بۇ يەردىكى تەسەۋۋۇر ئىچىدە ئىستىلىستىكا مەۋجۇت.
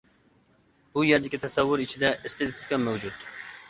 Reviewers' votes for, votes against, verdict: 2, 0, accepted